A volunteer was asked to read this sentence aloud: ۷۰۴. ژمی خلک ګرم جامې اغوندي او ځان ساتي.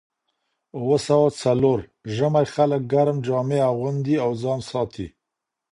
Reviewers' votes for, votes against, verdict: 0, 2, rejected